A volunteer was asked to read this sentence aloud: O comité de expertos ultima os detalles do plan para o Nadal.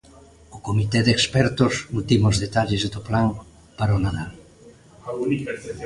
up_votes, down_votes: 0, 2